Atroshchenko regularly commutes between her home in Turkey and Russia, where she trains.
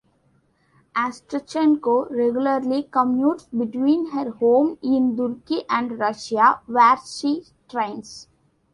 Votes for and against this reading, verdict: 2, 1, accepted